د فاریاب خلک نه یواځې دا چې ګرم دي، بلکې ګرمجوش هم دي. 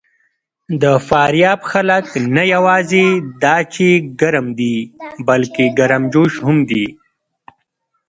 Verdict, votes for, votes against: rejected, 0, 2